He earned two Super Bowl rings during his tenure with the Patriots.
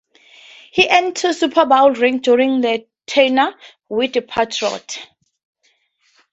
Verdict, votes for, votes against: accepted, 2, 0